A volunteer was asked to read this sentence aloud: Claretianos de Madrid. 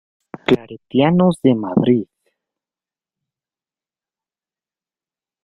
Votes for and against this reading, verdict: 0, 2, rejected